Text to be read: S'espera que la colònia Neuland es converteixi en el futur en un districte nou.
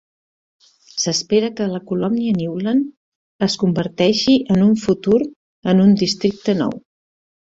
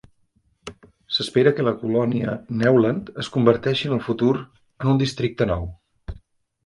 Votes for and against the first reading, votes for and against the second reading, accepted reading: 1, 2, 2, 0, second